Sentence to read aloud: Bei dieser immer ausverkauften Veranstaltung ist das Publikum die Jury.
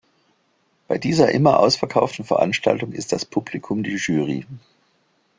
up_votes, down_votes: 3, 0